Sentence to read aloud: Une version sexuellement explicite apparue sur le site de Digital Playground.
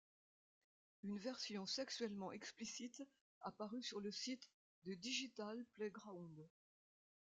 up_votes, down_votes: 2, 1